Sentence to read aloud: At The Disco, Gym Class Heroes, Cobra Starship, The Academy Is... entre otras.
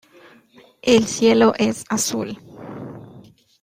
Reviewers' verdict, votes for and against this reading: rejected, 0, 2